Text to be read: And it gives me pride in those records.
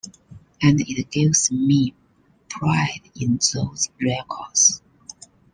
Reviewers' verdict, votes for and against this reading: accepted, 2, 0